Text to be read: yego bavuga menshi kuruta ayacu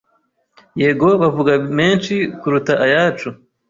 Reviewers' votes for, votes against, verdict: 3, 0, accepted